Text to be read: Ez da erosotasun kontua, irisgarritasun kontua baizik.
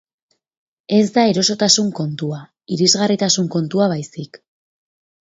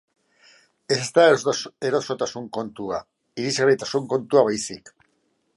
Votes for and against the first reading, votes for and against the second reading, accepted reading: 10, 0, 0, 2, first